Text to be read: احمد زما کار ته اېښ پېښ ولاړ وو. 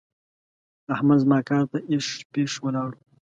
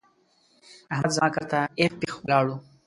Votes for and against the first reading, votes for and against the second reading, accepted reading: 2, 0, 0, 2, first